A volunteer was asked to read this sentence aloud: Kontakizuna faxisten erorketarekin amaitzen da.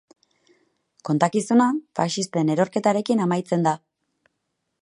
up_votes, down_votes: 4, 0